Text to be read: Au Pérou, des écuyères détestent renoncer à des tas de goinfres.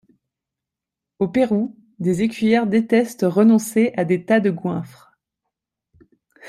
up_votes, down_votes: 2, 0